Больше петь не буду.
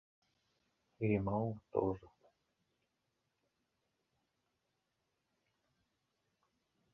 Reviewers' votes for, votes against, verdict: 0, 2, rejected